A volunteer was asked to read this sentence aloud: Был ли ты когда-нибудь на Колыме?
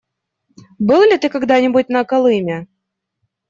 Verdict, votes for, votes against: rejected, 1, 2